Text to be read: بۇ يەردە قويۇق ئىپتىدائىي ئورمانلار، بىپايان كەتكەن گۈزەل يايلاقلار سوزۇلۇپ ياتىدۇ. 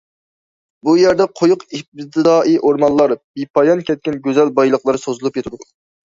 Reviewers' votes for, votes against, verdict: 0, 2, rejected